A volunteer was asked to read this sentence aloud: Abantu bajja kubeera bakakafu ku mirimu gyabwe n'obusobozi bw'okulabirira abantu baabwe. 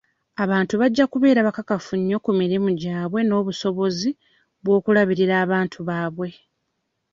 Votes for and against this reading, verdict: 1, 2, rejected